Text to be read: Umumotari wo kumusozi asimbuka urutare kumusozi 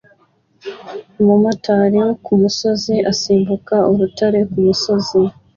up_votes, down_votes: 2, 0